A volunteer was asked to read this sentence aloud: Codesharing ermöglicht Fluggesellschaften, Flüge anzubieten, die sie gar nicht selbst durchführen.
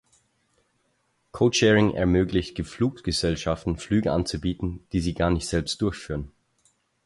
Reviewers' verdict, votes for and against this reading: rejected, 0, 4